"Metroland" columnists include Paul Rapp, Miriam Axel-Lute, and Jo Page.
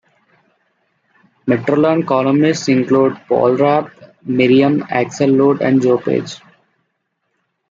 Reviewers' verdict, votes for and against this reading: accepted, 2, 1